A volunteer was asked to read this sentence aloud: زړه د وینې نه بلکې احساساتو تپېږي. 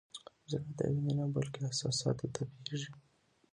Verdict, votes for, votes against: rejected, 0, 2